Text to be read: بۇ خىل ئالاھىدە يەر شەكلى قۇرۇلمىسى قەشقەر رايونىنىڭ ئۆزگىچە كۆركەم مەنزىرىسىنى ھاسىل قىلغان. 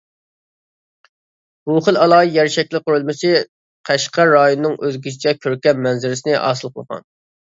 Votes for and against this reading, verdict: 2, 0, accepted